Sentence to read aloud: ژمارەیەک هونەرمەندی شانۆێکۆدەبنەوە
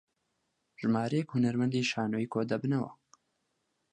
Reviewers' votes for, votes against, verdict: 4, 0, accepted